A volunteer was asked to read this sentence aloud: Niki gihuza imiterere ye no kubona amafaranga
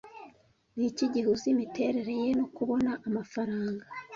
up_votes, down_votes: 2, 0